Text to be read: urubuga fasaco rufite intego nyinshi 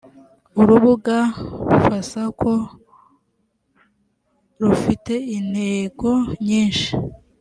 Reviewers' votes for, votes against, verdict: 2, 0, accepted